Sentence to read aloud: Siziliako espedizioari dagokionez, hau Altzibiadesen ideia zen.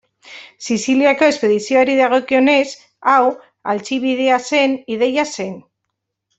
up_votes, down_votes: 1, 2